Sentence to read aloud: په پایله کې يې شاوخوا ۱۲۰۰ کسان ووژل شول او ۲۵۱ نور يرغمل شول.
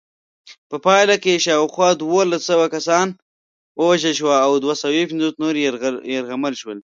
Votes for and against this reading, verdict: 0, 2, rejected